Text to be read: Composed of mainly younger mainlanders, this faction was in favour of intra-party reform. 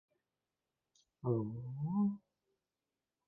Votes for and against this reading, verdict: 1, 2, rejected